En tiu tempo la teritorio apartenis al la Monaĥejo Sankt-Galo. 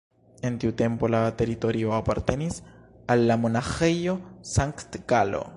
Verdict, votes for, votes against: accepted, 2, 0